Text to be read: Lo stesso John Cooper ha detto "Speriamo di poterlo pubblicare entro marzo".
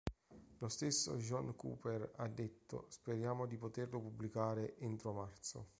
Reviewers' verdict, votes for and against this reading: accepted, 3, 0